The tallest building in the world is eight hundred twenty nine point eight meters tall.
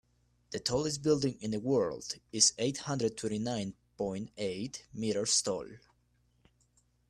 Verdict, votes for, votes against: accepted, 2, 1